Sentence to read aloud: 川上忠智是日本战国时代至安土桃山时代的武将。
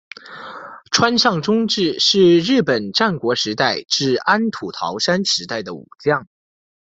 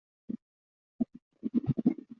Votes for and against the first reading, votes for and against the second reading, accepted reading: 2, 0, 0, 2, first